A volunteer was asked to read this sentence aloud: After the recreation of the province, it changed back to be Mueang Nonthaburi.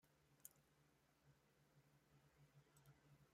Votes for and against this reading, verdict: 0, 2, rejected